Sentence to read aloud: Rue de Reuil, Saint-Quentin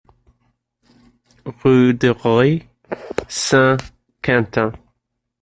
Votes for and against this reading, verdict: 0, 2, rejected